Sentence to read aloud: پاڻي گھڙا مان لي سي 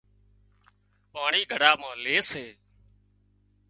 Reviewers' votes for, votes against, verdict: 2, 1, accepted